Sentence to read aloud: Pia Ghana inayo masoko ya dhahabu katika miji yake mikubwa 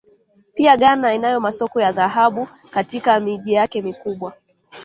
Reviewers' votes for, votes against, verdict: 2, 1, accepted